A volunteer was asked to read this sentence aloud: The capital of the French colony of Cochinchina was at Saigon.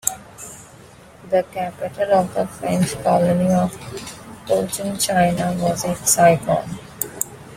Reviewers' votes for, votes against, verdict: 1, 2, rejected